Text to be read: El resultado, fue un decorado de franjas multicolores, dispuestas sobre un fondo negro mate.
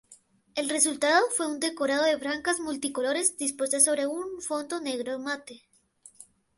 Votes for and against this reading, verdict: 2, 0, accepted